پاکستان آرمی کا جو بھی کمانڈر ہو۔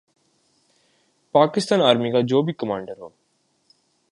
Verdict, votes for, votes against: accepted, 2, 0